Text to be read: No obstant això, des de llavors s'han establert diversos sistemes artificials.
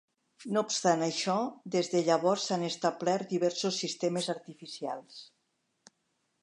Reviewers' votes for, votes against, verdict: 3, 0, accepted